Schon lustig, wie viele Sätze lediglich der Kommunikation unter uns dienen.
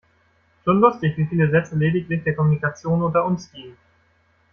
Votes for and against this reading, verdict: 1, 2, rejected